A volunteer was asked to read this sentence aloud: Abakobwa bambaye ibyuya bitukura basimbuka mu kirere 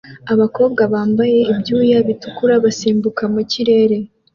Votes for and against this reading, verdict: 2, 0, accepted